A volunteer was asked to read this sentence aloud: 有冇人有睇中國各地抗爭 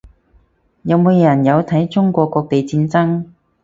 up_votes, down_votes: 4, 0